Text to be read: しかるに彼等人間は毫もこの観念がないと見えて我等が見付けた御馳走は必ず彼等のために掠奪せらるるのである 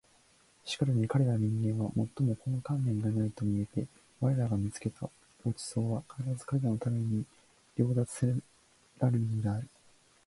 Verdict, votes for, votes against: rejected, 1, 2